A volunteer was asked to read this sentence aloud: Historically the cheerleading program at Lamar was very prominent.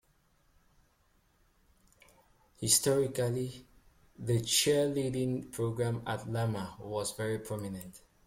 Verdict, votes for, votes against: accepted, 2, 0